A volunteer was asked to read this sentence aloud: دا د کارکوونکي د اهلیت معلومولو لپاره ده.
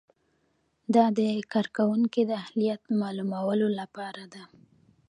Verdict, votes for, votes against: rejected, 0, 2